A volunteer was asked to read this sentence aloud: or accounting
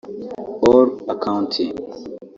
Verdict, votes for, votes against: rejected, 1, 2